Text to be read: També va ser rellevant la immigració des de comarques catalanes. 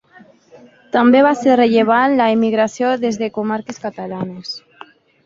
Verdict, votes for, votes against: rejected, 1, 2